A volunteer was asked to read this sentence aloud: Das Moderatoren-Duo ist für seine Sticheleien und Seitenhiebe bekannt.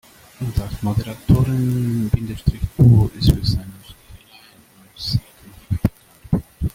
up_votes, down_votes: 0, 2